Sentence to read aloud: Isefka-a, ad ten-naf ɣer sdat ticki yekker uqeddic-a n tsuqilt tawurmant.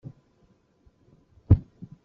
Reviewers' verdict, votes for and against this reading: rejected, 0, 2